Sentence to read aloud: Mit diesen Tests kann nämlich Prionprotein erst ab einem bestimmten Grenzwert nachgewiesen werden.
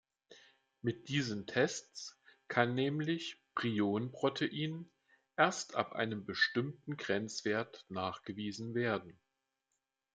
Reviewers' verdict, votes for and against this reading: accepted, 2, 0